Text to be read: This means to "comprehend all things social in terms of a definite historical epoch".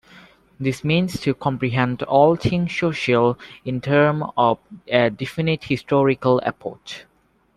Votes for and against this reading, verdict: 0, 2, rejected